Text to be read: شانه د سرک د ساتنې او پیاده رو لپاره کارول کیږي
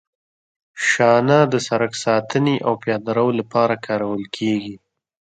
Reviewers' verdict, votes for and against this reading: accepted, 2, 0